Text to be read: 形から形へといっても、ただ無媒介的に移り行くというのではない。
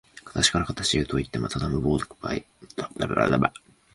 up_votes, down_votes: 1, 2